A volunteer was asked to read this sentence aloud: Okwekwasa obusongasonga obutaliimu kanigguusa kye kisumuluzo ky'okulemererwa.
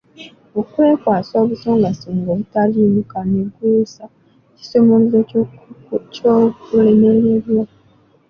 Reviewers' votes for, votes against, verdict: 2, 0, accepted